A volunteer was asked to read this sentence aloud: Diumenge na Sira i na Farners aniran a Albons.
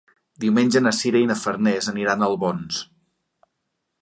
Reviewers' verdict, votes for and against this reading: accepted, 2, 0